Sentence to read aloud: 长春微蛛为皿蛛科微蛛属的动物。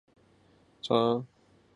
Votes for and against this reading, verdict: 0, 2, rejected